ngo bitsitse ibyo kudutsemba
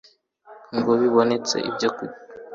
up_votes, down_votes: 2, 3